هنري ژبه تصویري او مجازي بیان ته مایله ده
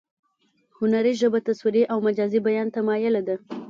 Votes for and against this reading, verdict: 1, 2, rejected